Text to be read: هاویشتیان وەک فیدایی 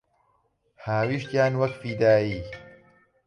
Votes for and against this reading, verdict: 0, 5, rejected